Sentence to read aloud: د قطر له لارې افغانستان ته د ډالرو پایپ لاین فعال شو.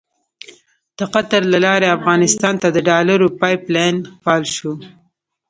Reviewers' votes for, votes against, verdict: 1, 2, rejected